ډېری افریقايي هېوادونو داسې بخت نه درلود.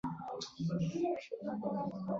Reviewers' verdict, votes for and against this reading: rejected, 0, 2